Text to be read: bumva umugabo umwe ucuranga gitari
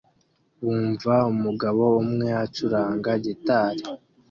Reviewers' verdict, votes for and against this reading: rejected, 1, 2